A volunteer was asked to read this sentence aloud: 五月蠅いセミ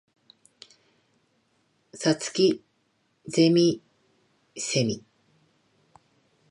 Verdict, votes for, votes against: rejected, 1, 2